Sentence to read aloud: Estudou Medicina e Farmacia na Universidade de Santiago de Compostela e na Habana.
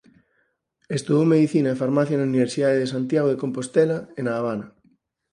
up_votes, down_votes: 4, 0